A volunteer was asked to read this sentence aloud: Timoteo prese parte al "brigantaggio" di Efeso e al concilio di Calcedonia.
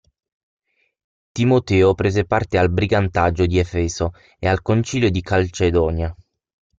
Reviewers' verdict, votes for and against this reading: rejected, 0, 6